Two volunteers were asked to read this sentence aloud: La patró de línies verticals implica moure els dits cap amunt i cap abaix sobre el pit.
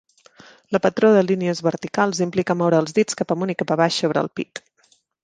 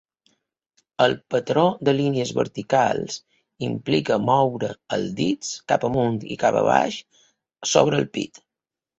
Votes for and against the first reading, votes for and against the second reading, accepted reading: 2, 0, 1, 2, first